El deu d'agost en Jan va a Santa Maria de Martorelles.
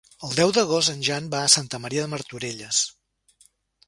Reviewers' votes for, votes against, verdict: 3, 0, accepted